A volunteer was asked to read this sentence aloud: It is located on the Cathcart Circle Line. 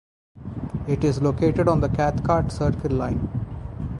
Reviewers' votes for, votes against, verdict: 0, 2, rejected